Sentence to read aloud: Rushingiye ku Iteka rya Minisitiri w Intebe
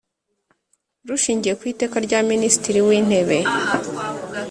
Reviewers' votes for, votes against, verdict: 2, 0, accepted